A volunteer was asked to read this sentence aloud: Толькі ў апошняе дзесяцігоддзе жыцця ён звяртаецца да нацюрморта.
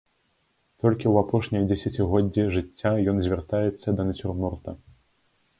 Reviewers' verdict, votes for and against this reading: accepted, 2, 0